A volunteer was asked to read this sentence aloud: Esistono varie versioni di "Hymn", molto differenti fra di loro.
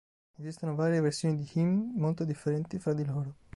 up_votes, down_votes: 2, 1